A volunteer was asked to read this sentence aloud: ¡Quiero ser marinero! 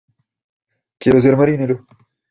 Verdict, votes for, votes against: accepted, 2, 0